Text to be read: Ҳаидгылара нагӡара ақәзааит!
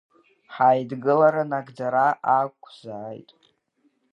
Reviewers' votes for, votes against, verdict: 2, 1, accepted